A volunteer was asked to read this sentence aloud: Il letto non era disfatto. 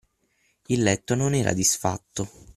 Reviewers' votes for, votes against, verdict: 6, 3, accepted